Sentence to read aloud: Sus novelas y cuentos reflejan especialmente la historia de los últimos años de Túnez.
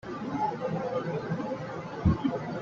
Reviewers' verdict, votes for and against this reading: rejected, 0, 2